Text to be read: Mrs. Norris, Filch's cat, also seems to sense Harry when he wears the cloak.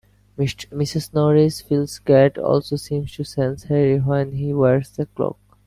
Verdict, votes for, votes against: rejected, 1, 2